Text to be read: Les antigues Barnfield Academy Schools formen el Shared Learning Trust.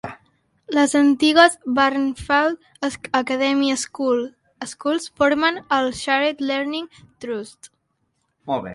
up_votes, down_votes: 0, 2